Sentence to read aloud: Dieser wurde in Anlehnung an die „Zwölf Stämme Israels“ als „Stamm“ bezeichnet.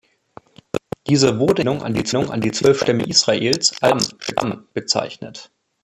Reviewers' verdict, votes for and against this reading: rejected, 0, 2